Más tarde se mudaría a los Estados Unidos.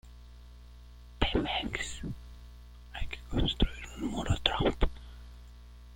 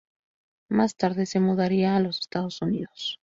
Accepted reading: second